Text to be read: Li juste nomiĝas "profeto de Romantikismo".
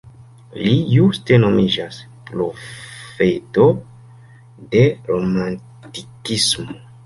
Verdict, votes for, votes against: rejected, 1, 2